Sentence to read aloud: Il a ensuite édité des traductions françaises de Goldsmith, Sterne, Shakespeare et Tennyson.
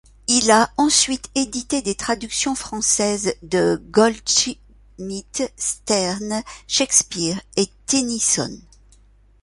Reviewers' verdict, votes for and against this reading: rejected, 0, 2